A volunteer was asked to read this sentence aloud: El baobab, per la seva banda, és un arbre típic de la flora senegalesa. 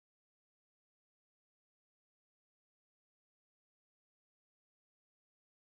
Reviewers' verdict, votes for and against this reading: rejected, 0, 2